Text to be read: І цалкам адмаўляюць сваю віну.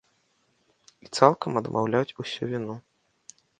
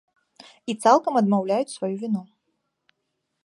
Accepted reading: second